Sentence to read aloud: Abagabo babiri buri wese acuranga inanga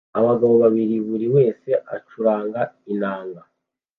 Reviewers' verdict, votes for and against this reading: accepted, 2, 0